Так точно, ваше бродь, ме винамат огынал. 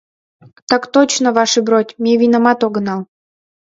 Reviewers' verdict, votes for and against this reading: accepted, 2, 0